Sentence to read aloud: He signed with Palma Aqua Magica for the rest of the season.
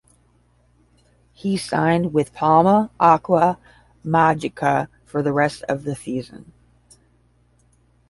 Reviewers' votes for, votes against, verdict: 5, 0, accepted